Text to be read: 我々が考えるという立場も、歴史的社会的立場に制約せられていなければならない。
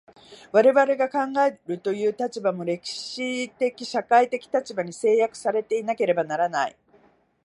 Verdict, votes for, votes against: rejected, 1, 2